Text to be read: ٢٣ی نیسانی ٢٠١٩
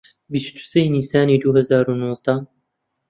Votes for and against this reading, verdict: 0, 2, rejected